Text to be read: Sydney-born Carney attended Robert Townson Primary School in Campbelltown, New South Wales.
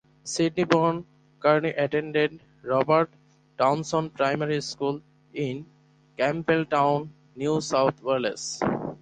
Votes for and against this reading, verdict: 2, 4, rejected